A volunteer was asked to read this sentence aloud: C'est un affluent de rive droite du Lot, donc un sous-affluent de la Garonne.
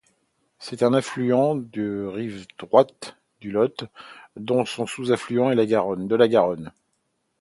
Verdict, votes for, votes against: rejected, 0, 2